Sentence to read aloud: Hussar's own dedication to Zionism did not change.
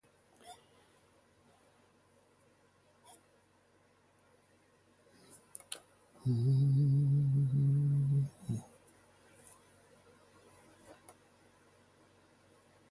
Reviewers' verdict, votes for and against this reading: rejected, 0, 2